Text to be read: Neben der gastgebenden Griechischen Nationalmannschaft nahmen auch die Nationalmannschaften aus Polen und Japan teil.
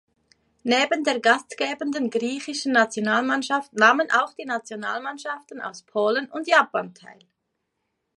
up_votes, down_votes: 2, 0